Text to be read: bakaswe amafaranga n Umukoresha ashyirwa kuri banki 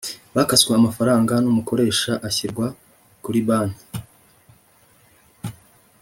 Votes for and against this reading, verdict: 3, 0, accepted